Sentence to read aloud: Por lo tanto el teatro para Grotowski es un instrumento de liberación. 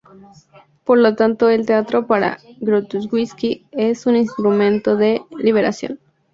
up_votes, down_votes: 2, 0